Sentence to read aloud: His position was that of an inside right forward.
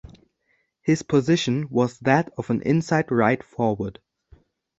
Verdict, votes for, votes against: accepted, 2, 0